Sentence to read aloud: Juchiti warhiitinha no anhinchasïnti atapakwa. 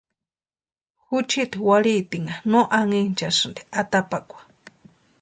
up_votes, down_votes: 2, 0